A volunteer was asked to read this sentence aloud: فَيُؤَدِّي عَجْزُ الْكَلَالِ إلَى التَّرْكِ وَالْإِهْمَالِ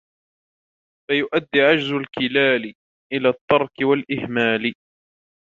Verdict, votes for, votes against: rejected, 1, 2